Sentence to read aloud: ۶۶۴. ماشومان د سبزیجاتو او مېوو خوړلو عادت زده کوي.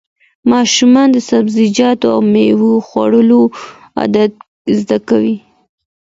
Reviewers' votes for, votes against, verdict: 0, 2, rejected